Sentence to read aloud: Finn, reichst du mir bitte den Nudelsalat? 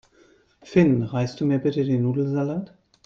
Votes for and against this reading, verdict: 2, 0, accepted